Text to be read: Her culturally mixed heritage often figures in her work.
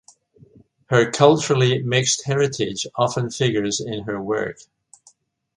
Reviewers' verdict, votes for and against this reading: accepted, 2, 0